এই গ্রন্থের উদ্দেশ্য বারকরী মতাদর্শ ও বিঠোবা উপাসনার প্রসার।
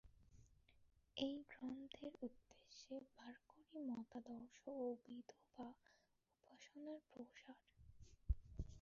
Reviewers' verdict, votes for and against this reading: rejected, 0, 2